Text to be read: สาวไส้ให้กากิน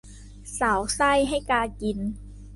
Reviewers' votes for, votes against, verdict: 2, 0, accepted